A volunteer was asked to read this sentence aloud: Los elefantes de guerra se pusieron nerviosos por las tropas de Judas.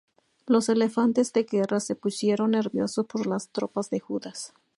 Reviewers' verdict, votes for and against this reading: rejected, 0, 2